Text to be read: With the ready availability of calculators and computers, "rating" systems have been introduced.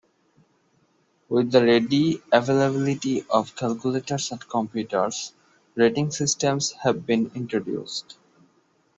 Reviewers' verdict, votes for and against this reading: accepted, 2, 1